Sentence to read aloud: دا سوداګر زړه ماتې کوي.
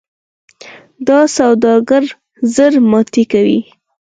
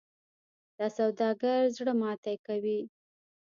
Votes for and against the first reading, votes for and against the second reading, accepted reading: 4, 2, 0, 2, first